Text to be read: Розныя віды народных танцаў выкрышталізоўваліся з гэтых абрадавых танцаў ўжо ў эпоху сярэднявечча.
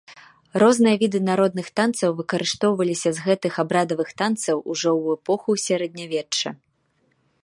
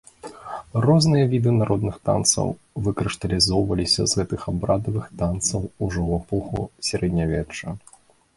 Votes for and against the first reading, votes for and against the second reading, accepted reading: 0, 2, 2, 0, second